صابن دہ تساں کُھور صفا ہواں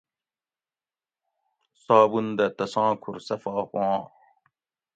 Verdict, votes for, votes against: accepted, 2, 0